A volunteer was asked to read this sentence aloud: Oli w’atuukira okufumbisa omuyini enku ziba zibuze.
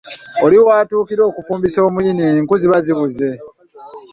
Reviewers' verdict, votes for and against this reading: accepted, 2, 0